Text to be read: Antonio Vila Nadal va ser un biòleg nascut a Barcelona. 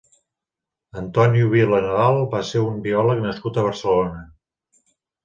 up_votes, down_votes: 2, 0